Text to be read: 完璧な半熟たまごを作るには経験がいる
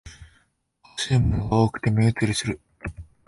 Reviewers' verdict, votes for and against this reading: rejected, 0, 2